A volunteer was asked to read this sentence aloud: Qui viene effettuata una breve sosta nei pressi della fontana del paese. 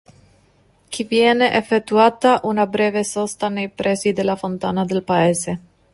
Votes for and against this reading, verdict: 0, 2, rejected